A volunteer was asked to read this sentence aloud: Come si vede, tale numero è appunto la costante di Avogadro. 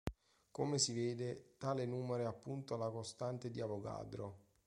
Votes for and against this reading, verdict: 2, 0, accepted